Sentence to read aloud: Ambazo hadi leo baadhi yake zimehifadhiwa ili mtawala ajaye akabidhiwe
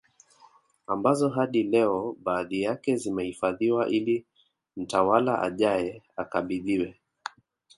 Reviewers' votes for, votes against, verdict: 1, 2, rejected